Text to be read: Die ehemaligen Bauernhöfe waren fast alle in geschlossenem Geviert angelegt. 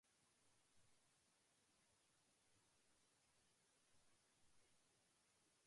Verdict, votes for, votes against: rejected, 0, 2